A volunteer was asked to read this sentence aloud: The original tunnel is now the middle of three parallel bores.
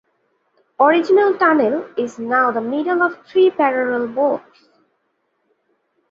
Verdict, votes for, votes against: rejected, 0, 2